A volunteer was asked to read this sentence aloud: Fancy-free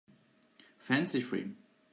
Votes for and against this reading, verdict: 2, 0, accepted